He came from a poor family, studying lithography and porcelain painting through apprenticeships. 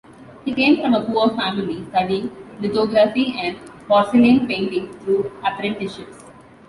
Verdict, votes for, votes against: accepted, 2, 0